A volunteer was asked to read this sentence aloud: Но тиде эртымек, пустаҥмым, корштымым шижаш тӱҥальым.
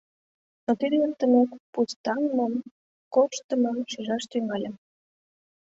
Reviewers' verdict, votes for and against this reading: accepted, 2, 0